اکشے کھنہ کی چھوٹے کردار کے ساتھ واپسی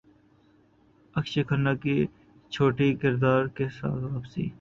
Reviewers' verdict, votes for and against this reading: rejected, 0, 3